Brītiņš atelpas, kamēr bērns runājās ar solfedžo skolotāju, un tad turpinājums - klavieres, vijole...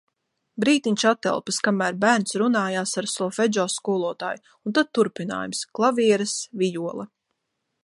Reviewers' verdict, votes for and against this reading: accepted, 2, 1